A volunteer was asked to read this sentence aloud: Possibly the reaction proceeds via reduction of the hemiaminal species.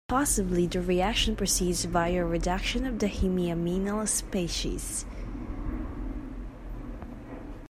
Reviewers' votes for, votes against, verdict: 1, 2, rejected